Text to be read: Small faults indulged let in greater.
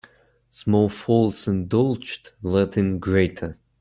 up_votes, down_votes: 2, 0